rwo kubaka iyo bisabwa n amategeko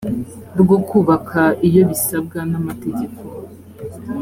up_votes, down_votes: 2, 0